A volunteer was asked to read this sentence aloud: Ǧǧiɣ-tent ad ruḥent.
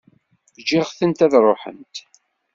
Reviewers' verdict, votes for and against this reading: accepted, 2, 0